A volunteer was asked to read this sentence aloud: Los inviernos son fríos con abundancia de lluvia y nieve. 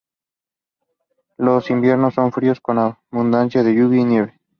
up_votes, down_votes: 2, 0